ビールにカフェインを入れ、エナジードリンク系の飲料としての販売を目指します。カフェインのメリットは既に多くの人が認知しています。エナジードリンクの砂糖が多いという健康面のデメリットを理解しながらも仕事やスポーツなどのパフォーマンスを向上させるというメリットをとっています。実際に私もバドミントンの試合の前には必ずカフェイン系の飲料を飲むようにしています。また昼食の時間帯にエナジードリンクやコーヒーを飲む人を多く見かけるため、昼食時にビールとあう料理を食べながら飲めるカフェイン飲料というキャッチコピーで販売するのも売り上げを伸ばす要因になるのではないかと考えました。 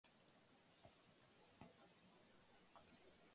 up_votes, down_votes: 2, 1